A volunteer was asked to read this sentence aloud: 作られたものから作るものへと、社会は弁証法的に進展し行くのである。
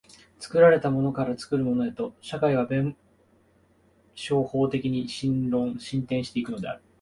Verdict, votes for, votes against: rejected, 0, 3